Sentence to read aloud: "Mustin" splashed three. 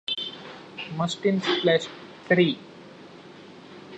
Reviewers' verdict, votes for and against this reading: accepted, 2, 1